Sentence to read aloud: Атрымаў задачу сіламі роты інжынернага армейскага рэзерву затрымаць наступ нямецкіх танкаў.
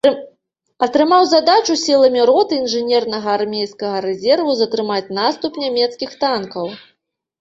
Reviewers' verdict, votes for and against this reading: rejected, 0, 2